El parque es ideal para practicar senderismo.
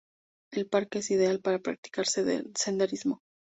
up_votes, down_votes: 0, 4